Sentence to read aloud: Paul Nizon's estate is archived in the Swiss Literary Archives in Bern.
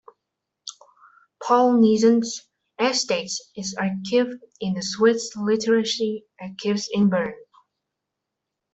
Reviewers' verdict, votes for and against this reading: rejected, 0, 2